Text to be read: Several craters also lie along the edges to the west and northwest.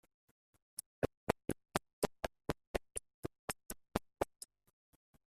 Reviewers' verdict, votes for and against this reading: rejected, 0, 2